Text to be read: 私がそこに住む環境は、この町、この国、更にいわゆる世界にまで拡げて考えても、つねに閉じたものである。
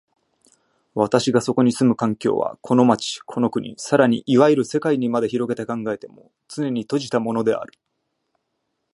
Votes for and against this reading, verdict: 2, 0, accepted